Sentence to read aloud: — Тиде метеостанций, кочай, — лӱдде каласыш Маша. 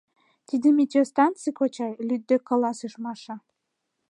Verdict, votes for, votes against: accepted, 2, 0